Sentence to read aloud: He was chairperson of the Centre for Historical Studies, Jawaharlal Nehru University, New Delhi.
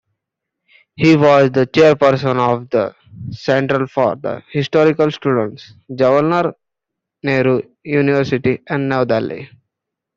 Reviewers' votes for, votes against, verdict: 0, 2, rejected